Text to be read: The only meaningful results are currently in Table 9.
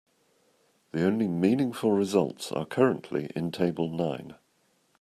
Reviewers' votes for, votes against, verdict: 0, 2, rejected